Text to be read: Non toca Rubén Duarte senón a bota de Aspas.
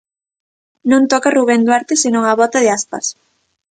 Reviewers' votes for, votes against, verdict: 2, 0, accepted